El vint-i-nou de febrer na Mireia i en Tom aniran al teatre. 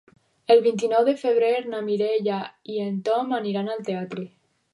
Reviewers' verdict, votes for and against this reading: accepted, 2, 0